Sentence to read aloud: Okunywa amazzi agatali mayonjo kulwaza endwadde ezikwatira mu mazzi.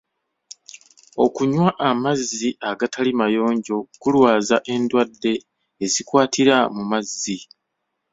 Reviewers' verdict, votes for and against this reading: accepted, 2, 0